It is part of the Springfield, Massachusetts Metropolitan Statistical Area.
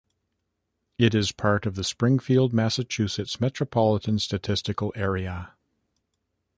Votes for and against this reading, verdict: 2, 0, accepted